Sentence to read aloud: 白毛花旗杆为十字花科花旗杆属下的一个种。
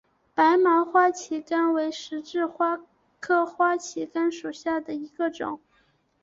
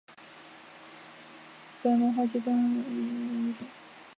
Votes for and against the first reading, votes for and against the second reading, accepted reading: 3, 1, 0, 2, first